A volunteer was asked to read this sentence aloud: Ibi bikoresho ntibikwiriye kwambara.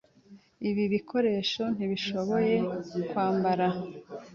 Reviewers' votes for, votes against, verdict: 0, 2, rejected